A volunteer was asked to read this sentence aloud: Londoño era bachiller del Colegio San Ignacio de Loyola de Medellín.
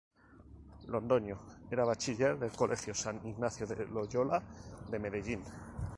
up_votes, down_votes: 0, 2